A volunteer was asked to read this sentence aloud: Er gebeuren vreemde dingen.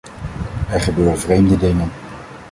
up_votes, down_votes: 1, 2